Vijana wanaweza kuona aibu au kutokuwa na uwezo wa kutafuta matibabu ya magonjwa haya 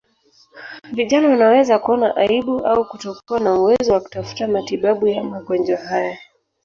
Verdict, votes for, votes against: rejected, 0, 2